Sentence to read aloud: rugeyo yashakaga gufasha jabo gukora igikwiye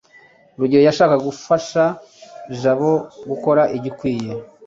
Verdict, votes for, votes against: accepted, 2, 1